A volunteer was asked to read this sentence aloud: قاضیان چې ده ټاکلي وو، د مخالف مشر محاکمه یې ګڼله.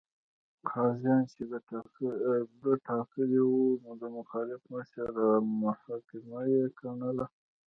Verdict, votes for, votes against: accepted, 2, 0